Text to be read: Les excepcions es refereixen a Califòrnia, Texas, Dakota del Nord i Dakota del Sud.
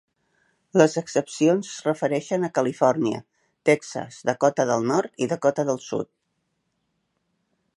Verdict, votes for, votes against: rejected, 1, 2